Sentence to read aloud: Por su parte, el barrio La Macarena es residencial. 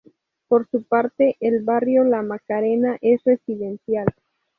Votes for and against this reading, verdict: 2, 0, accepted